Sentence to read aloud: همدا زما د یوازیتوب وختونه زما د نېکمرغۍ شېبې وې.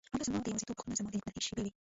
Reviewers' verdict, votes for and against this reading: rejected, 0, 2